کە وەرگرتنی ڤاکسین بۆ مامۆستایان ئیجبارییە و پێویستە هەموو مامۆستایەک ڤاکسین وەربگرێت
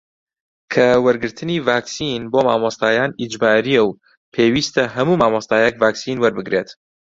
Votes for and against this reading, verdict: 2, 0, accepted